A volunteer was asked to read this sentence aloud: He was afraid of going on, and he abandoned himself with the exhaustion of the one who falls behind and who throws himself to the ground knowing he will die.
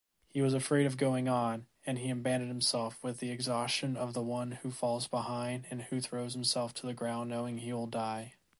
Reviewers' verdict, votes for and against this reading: accepted, 2, 0